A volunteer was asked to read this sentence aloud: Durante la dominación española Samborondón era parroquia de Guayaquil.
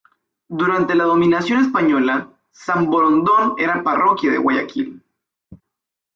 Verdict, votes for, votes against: accepted, 2, 1